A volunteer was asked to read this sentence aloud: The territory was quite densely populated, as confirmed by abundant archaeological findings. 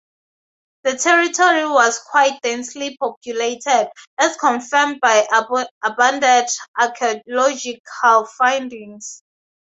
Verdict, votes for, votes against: rejected, 2, 2